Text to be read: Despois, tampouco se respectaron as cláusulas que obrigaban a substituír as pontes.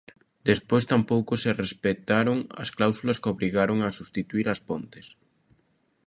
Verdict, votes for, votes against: rejected, 0, 2